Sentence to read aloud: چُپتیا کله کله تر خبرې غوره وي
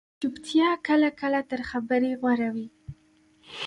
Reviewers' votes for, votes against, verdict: 2, 1, accepted